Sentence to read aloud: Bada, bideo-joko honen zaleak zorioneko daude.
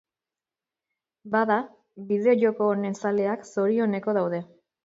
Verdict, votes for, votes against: accepted, 2, 0